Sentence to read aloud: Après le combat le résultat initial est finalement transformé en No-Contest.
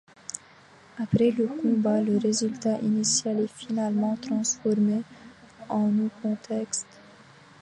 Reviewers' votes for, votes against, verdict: 1, 2, rejected